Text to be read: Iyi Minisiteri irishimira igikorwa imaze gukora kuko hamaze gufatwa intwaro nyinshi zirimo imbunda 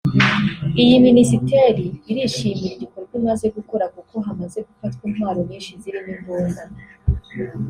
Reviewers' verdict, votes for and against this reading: accepted, 3, 0